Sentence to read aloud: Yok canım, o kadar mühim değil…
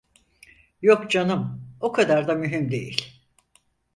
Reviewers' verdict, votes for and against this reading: rejected, 2, 4